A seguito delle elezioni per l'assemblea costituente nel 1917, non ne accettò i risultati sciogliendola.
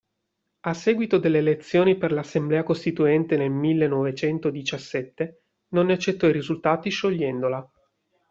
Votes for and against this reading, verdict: 0, 2, rejected